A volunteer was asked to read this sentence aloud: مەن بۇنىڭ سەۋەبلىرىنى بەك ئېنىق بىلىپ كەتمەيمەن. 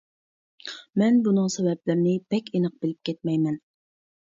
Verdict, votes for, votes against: accepted, 3, 0